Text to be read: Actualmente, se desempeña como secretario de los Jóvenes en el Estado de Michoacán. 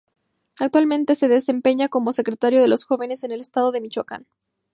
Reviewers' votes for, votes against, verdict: 4, 0, accepted